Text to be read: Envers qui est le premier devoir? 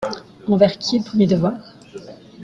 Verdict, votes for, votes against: accepted, 2, 1